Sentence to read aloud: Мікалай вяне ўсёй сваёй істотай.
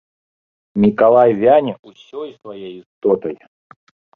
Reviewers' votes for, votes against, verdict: 0, 2, rejected